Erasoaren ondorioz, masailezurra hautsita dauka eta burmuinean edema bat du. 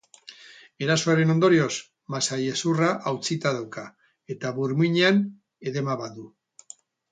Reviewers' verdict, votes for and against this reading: accepted, 4, 0